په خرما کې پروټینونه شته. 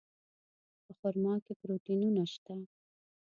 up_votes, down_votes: 1, 2